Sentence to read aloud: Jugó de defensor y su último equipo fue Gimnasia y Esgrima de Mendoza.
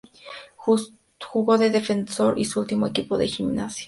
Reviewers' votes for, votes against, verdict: 0, 2, rejected